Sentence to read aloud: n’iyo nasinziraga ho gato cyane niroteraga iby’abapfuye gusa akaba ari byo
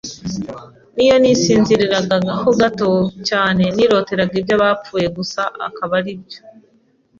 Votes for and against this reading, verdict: 2, 1, accepted